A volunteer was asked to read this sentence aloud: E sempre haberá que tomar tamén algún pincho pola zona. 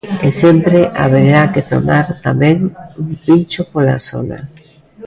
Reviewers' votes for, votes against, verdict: 0, 2, rejected